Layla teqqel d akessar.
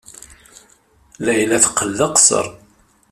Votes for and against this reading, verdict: 1, 2, rejected